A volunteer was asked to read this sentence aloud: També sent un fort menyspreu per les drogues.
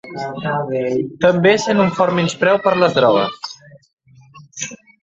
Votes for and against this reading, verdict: 0, 3, rejected